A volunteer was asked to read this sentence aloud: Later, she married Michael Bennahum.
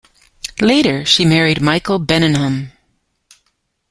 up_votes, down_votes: 2, 1